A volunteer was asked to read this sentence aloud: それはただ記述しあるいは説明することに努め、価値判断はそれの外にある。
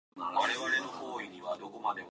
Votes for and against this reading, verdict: 1, 2, rejected